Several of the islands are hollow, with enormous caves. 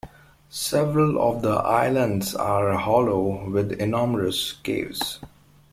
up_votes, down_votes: 2, 1